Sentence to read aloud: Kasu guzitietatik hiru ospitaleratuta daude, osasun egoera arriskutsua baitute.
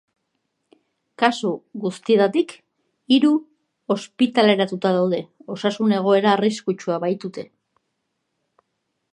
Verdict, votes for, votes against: accepted, 2, 1